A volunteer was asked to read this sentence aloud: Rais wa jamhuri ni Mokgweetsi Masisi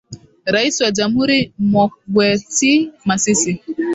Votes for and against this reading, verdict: 3, 0, accepted